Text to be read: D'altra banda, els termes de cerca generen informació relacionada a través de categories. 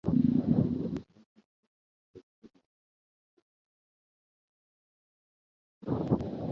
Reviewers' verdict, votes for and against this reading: rejected, 0, 3